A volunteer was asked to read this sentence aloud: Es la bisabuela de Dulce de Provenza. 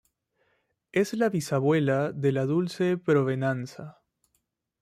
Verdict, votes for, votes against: rejected, 1, 2